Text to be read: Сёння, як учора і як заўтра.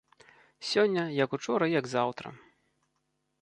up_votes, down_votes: 2, 0